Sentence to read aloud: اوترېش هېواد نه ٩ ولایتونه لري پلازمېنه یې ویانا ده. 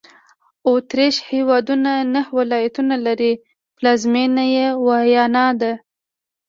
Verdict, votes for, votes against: rejected, 0, 2